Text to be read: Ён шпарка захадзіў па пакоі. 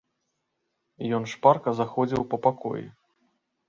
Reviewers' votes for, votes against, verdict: 0, 3, rejected